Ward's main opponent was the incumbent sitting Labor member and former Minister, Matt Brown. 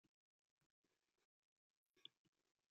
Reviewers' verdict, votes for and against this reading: rejected, 0, 2